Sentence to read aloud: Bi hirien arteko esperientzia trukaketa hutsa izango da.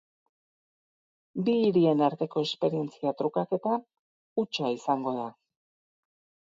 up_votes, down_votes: 4, 0